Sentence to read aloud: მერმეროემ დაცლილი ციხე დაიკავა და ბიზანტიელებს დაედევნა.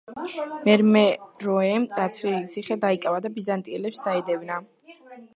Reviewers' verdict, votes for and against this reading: rejected, 1, 2